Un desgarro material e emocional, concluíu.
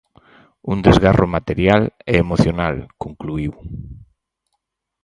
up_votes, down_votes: 4, 0